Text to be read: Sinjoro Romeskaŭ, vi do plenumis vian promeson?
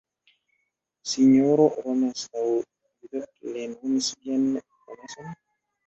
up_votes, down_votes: 1, 2